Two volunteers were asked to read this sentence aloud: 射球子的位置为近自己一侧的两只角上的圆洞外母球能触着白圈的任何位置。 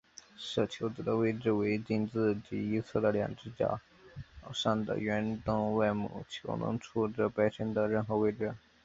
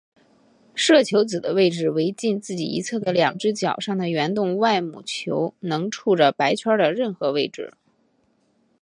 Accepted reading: second